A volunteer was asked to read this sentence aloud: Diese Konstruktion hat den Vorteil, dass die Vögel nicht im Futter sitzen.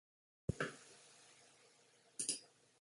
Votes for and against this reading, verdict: 0, 2, rejected